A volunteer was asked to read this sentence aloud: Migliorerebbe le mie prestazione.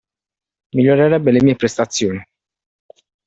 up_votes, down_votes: 2, 1